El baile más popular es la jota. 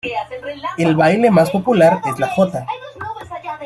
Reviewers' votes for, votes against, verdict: 1, 2, rejected